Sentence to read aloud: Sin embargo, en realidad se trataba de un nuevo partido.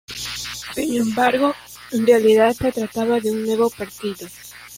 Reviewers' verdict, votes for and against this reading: rejected, 0, 3